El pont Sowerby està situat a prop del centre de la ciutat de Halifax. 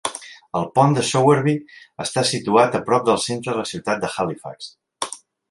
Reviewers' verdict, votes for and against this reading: rejected, 1, 2